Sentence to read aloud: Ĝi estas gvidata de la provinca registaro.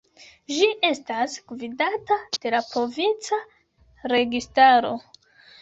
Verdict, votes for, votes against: rejected, 1, 2